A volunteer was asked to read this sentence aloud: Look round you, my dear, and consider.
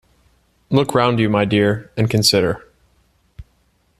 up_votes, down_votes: 2, 0